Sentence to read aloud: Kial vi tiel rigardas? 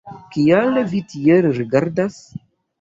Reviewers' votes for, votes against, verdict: 1, 2, rejected